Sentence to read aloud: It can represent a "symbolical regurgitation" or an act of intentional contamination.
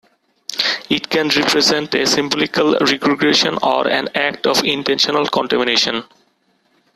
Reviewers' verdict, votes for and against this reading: rejected, 1, 2